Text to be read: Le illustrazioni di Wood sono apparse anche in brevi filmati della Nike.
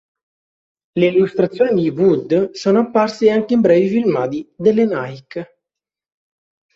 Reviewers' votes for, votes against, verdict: 0, 2, rejected